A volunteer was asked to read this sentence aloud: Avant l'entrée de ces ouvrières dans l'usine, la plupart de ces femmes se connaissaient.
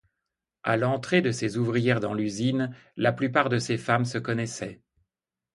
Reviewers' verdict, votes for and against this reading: rejected, 0, 2